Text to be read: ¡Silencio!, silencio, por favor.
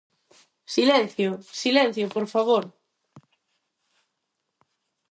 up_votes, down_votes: 4, 0